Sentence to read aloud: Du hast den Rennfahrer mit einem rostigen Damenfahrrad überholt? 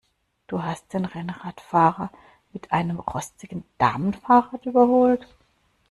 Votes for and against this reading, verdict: 0, 2, rejected